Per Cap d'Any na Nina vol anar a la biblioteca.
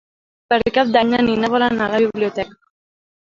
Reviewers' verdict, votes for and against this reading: rejected, 1, 2